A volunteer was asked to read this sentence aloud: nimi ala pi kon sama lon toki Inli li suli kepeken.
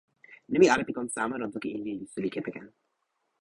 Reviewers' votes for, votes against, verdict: 0, 2, rejected